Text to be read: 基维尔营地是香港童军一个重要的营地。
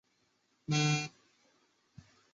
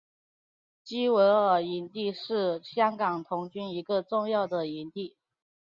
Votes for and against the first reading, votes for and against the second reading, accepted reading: 0, 2, 5, 0, second